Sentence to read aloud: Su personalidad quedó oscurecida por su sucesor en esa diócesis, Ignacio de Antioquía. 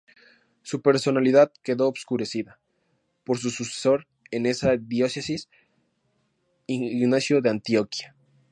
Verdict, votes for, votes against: accepted, 4, 2